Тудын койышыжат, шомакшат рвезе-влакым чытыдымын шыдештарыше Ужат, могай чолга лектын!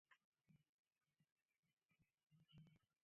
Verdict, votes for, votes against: rejected, 1, 2